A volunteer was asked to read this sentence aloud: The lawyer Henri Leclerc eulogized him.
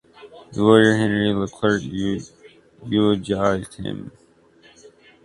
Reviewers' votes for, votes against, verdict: 1, 2, rejected